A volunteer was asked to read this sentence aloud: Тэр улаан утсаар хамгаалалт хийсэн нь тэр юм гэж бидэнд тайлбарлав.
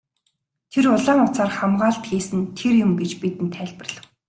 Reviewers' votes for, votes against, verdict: 2, 0, accepted